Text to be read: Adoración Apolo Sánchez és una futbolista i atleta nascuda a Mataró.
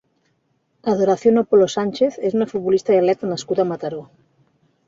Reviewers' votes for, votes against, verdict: 2, 0, accepted